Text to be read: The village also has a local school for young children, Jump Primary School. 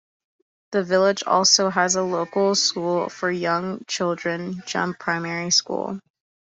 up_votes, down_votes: 2, 0